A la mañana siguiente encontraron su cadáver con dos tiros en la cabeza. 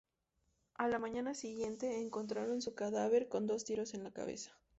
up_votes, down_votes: 0, 2